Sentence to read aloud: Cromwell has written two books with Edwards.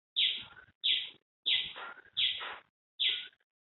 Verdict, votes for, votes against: rejected, 0, 2